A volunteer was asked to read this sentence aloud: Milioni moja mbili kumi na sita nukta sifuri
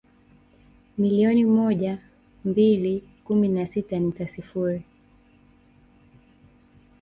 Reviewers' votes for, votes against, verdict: 1, 2, rejected